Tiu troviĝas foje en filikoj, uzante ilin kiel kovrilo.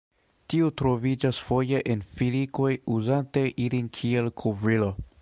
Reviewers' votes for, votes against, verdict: 0, 2, rejected